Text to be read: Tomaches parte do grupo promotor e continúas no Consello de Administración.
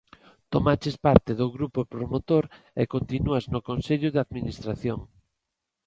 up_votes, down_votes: 2, 0